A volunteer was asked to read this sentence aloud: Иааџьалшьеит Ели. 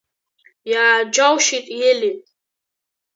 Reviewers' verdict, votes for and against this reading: rejected, 2, 3